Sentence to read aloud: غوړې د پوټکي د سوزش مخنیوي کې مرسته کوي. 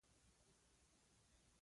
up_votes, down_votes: 0, 2